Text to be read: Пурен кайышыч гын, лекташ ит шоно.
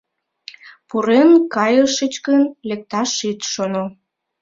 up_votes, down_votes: 2, 1